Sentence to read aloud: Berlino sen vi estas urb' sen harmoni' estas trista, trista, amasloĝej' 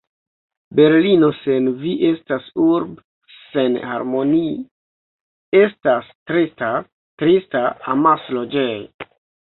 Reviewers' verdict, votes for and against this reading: rejected, 1, 2